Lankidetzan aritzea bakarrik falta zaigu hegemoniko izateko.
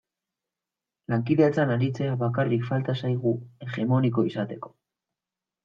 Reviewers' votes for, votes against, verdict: 2, 0, accepted